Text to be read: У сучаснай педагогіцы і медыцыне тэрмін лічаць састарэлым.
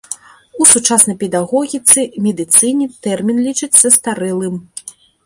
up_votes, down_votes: 2, 0